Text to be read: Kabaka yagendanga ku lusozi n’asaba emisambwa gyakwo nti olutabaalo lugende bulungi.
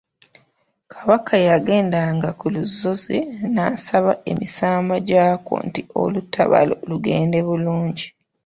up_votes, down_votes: 0, 2